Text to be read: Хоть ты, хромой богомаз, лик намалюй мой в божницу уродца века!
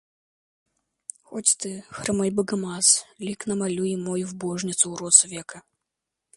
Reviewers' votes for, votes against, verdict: 2, 0, accepted